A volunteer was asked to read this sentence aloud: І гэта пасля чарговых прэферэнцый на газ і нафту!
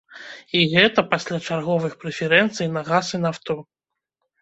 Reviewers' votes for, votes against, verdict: 0, 2, rejected